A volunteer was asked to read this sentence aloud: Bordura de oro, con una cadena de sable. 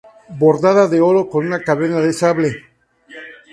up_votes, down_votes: 0, 2